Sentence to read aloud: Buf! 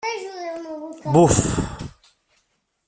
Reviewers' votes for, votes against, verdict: 0, 2, rejected